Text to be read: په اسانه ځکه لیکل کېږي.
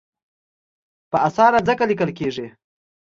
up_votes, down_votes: 2, 0